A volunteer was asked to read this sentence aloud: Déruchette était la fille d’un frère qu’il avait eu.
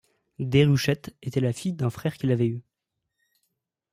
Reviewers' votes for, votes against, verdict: 2, 0, accepted